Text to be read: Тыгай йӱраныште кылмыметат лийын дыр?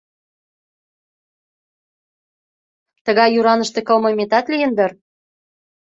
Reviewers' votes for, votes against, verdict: 2, 0, accepted